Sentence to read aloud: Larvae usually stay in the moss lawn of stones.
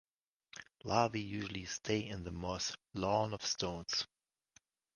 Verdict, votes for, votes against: accepted, 2, 1